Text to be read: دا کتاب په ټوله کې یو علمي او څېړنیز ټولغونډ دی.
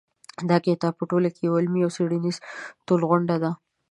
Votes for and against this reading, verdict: 0, 2, rejected